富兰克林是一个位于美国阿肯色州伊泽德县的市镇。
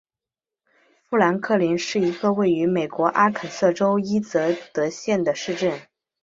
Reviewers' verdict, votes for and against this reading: accepted, 2, 1